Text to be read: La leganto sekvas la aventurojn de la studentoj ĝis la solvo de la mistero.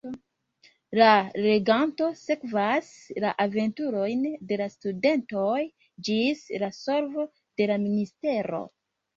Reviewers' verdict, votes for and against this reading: accepted, 3, 0